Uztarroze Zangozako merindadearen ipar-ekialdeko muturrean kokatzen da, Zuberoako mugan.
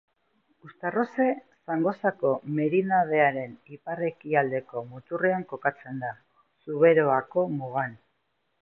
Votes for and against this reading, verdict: 2, 0, accepted